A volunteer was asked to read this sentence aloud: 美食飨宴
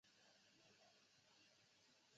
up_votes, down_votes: 1, 3